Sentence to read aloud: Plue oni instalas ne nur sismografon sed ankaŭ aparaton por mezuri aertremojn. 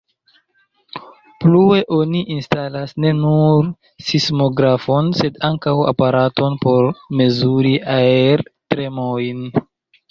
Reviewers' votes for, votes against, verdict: 1, 2, rejected